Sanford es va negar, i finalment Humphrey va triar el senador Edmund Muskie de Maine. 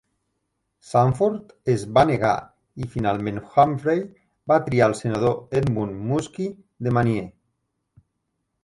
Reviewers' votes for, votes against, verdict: 2, 0, accepted